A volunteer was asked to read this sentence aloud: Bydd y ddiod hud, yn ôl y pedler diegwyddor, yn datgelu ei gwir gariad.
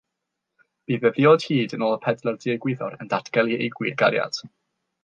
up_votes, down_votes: 0, 3